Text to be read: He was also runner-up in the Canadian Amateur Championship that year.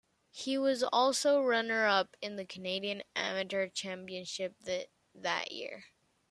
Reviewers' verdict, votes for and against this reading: accepted, 2, 1